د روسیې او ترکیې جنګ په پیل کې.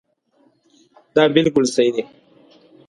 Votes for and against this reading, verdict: 1, 2, rejected